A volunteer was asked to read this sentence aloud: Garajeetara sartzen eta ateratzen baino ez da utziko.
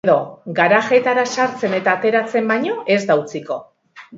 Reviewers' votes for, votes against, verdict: 2, 1, accepted